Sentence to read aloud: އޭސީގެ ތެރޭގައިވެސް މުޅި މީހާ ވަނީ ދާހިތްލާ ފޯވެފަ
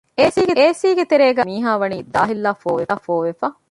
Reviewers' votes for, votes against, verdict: 0, 2, rejected